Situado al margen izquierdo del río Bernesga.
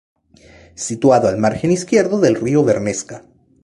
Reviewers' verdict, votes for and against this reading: rejected, 0, 2